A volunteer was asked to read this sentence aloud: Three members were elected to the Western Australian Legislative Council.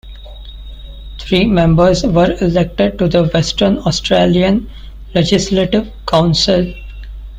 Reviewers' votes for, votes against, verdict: 2, 0, accepted